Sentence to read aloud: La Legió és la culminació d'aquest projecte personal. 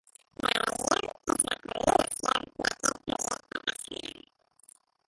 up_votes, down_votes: 1, 2